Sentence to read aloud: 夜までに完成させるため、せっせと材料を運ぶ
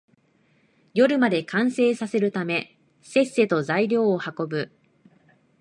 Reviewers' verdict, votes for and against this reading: rejected, 0, 2